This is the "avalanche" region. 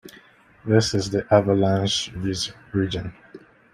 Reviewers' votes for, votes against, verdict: 1, 2, rejected